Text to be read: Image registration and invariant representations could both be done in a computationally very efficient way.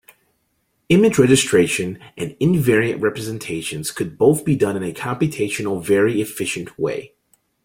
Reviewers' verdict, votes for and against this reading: accepted, 2, 1